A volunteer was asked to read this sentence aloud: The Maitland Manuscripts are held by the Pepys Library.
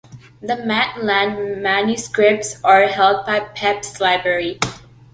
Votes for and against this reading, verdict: 0, 2, rejected